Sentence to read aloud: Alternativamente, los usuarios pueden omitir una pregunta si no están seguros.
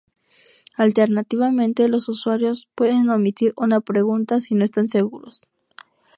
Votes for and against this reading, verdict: 0, 2, rejected